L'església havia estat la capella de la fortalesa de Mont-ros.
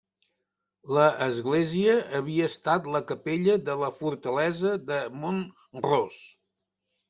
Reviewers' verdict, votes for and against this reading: rejected, 1, 2